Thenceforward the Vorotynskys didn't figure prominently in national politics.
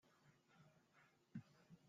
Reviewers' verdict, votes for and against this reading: rejected, 0, 2